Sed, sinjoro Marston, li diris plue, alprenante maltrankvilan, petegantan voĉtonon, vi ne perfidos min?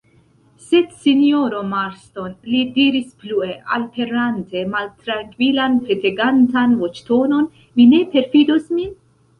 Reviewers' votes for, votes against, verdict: 2, 0, accepted